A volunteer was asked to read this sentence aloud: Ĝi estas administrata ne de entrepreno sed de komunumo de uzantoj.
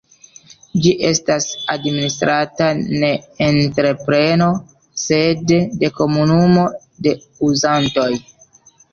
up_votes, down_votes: 2, 1